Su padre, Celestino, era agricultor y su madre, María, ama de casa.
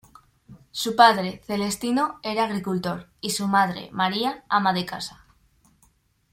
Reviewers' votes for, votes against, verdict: 2, 0, accepted